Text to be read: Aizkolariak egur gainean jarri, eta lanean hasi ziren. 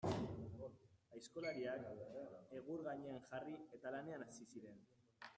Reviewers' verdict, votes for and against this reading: rejected, 1, 2